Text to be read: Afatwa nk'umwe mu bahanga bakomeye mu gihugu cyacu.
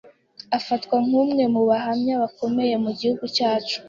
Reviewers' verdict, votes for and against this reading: accepted, 2, 0